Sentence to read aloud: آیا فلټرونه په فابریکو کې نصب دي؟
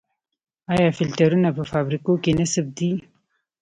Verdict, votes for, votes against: accepted, 2, 0